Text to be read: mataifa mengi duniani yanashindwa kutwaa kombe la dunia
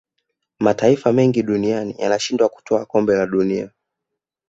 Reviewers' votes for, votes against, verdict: 0, 2, rejected